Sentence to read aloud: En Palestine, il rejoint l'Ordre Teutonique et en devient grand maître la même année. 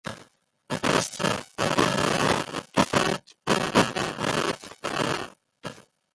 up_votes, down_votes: 0, 2